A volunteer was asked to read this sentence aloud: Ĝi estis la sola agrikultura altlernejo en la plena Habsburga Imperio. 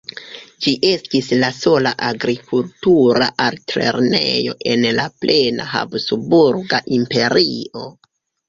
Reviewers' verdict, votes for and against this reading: rejected, 1, 2